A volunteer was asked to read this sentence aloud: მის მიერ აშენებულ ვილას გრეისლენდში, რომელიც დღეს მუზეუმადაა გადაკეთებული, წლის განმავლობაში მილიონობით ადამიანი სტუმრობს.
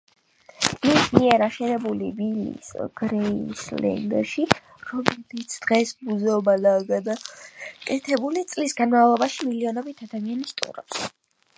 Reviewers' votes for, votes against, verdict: 3, 6, rejected